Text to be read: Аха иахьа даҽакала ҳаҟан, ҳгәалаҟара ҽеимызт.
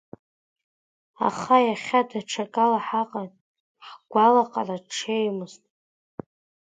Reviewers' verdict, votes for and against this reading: accepted, 2, 0